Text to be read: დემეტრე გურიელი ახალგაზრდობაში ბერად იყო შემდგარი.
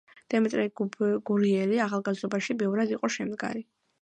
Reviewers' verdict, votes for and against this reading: rejected, 1, 2